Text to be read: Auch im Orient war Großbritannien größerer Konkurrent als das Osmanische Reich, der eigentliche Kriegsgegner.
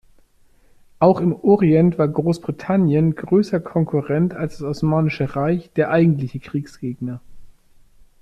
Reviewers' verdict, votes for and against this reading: rejected, 0, 2